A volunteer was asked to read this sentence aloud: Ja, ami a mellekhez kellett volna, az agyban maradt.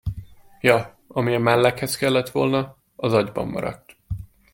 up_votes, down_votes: 2, 0